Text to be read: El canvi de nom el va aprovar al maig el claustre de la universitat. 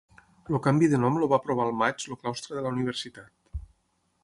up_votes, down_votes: 3, 9